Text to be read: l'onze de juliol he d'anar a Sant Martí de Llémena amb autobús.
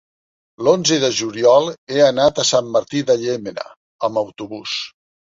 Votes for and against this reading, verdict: 1, 2, rejected